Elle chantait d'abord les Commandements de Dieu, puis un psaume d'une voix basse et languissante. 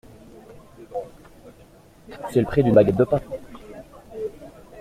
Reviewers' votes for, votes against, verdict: 0, 2, rejected